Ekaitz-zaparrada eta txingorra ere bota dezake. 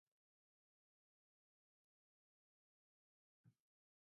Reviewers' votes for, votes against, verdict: 0, 2, rejected